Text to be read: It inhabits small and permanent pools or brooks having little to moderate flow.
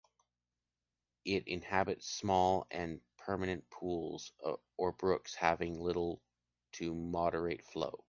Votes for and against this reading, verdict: 0, 2, rejected